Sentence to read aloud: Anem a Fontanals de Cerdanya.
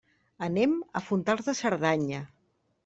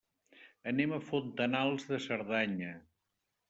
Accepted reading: second